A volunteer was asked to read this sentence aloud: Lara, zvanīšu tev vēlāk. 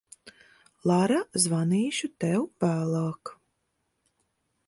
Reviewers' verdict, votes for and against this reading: accepted, 2, 0